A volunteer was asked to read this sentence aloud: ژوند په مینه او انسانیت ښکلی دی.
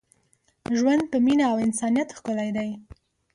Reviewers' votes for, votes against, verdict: 2, 0, accepted